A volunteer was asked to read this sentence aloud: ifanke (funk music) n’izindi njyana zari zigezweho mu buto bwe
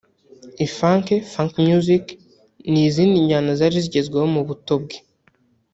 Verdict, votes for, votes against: rejected, 1, 2